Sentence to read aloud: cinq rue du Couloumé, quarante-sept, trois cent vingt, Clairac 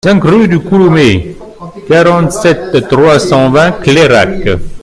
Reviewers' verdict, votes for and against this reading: rejected, 0, 2